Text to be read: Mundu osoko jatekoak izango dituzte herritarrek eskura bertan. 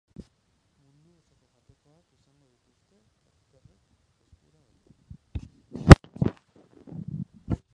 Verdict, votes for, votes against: rejected, 0, 2